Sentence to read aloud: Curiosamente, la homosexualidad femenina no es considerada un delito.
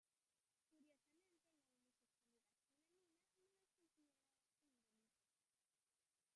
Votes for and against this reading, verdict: 0, 2, rejected